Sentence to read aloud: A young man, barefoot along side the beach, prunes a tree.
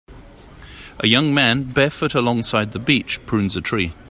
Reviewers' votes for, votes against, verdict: 2, 0, accepted